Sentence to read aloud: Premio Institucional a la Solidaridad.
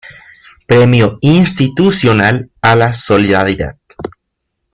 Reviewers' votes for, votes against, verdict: 0, 2, rejected